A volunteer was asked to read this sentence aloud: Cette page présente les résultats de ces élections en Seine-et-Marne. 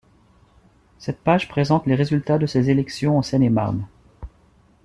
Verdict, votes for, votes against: accepted, 2, 0